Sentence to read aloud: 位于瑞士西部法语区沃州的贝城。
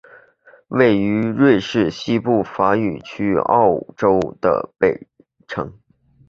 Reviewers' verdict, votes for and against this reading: rejected, 1, 2